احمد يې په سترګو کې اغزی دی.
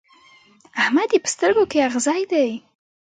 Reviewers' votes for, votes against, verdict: 2, 1, accepted